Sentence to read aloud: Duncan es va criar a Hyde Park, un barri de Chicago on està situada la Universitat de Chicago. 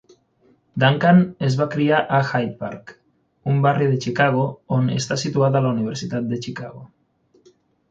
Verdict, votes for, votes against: accepted, 6, 0